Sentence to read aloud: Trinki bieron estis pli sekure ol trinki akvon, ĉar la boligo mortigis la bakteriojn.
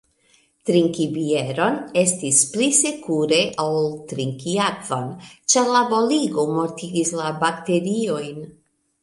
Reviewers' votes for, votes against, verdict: 2, 1, accepted